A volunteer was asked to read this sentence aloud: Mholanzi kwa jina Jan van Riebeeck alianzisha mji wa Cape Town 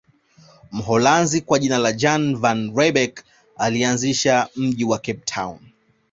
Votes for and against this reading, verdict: 2, 0, accepted